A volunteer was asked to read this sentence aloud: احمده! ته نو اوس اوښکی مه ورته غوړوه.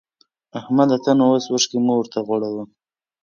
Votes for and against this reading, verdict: 2, 0, accepted